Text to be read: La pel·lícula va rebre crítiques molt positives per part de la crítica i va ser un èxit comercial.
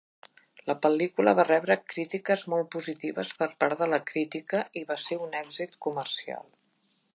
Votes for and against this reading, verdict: 3, 0, accepted